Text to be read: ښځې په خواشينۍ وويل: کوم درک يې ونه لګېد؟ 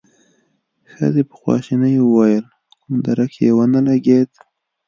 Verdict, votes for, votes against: rejected, 0, 2